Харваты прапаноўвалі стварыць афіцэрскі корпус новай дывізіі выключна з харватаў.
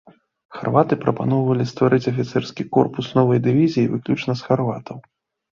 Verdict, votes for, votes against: accepted, 2, 0